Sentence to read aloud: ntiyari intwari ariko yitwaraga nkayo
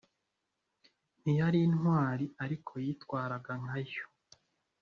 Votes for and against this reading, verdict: 2, 0, accepted